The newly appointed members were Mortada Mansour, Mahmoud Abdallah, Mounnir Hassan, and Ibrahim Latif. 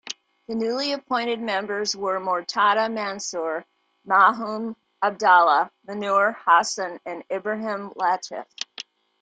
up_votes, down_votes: 1, 2